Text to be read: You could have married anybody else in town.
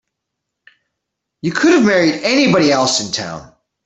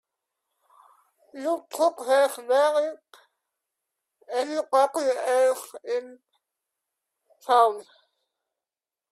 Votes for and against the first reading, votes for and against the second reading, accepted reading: 2, 0, 1, 2, first